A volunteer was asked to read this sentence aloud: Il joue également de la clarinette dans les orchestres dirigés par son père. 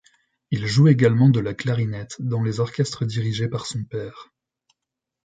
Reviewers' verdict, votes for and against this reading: accepted, 2, 0